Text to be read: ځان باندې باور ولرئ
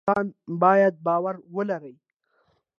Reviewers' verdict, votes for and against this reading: rejected, 1, 2